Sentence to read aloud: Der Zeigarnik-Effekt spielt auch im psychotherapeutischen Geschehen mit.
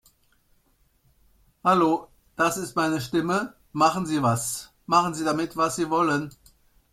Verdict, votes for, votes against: rejected, 0, 2